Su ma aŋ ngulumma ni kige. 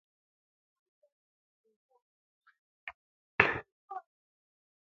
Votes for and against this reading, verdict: 1, 2, rejected